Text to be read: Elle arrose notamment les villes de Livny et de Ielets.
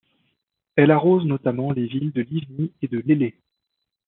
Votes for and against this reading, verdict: 1, 2, rejected